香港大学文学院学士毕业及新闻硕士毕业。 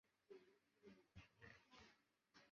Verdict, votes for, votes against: rejected, 1, 3